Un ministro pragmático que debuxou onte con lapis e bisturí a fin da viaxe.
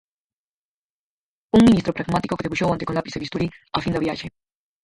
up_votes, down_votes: 0, 4